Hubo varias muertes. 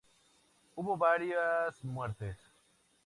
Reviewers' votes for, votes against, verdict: 2, 0, accepted